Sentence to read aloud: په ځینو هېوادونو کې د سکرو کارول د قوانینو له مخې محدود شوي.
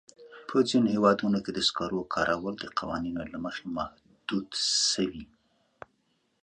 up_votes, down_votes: 3, 0